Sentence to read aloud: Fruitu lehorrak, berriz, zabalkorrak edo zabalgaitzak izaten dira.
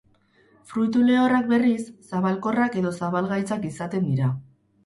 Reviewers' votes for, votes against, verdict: 0, 2, rejected